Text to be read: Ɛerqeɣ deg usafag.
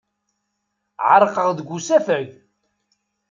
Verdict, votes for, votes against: accepted, 2, 0